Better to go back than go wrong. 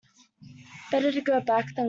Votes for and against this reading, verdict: 0, 2, rejected